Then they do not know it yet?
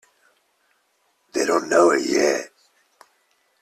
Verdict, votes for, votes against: rejected, 0, 2